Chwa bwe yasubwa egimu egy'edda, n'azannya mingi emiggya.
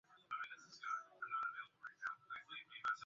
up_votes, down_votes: 0, 2